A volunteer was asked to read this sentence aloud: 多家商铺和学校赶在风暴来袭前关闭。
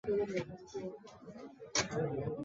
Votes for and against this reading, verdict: 2, 3, rejected